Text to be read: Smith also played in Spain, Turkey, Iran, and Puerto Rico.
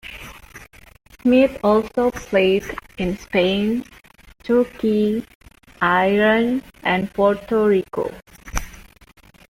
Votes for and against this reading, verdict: 2, 0, accepted